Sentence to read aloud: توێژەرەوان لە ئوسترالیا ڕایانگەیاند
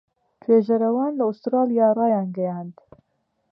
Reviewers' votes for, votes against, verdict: 2, 1, accepted